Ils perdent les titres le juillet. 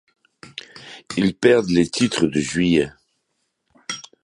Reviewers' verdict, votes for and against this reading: rejected, 0, 2